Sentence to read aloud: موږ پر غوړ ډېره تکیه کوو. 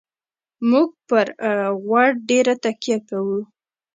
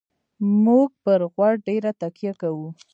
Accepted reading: first